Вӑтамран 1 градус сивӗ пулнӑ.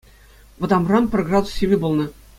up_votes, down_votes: 0, 2